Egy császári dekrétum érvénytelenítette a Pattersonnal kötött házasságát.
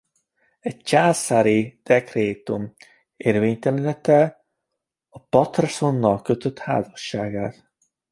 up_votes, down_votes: 0, 2